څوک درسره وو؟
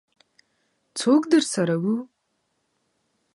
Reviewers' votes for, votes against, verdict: 2, 0, accepted